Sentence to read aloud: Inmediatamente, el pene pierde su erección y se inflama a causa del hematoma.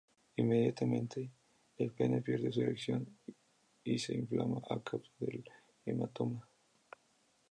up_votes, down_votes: 2, 0